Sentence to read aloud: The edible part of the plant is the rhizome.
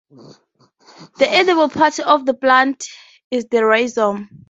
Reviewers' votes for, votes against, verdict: 2, 0, accepted